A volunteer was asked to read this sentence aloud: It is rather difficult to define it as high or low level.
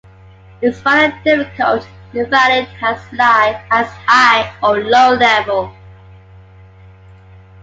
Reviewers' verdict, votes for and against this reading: rejected, 1, 2